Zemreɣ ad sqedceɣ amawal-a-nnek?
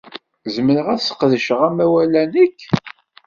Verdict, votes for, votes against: rejected, 1, 2